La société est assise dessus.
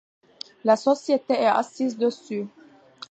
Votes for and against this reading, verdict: 2, 0, accepted